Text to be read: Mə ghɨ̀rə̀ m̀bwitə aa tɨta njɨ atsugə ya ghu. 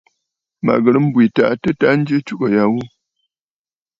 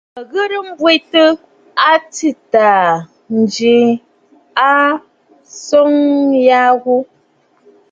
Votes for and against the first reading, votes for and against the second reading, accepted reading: 2, 0, 1, 2, first